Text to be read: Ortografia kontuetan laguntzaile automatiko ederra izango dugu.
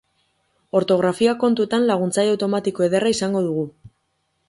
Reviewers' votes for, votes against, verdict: 2, 2, rejected